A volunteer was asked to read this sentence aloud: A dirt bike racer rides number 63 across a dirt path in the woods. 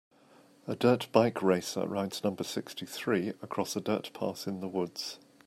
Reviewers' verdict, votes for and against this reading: rejected, 0, 2